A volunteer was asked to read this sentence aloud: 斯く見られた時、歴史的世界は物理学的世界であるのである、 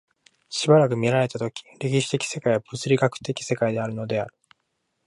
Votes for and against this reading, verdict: 2, 3, rejected